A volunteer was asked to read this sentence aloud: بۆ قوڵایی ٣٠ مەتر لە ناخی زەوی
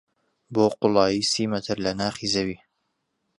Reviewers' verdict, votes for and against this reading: rejected, 0, 2